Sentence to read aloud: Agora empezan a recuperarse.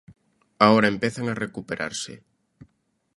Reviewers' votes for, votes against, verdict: 0, 2, rejected